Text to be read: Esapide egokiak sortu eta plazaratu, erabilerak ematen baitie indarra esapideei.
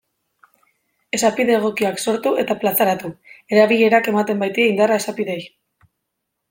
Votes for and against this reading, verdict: 2, 0, accepted